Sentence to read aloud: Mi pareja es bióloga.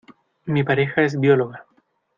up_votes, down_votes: 2, 0